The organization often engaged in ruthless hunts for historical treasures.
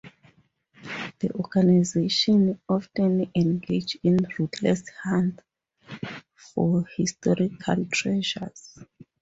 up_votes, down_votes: 0, 4